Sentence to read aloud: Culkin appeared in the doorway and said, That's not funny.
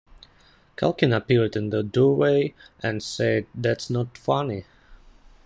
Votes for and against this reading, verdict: 2, 1, accepted